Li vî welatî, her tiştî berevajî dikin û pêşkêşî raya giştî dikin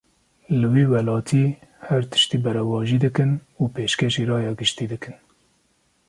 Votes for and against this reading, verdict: 2, 0, accepted